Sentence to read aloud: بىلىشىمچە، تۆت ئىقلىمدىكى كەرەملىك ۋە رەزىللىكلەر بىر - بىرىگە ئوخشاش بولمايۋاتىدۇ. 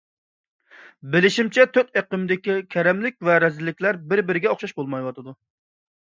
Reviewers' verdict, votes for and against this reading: rejected, 0, 2